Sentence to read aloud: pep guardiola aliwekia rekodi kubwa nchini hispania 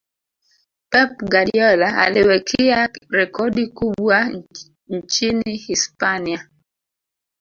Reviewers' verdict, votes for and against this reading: rejected, 1, 3